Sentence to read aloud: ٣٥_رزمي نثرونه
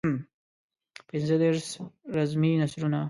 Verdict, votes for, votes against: rejected, 0, 2